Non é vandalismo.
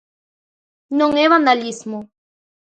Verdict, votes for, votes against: accepted, 2, 0